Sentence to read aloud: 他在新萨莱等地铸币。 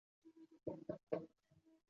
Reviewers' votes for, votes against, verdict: 0, 2, rejected